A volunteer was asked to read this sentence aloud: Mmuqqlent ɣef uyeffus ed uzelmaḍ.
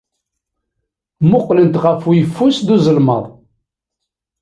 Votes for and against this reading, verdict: 0, 2, rejected